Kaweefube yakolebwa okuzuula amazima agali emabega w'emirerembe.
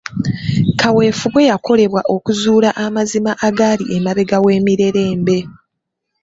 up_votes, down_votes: 2, 0